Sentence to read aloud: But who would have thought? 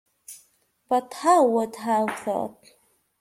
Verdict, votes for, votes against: rejected, 1, 2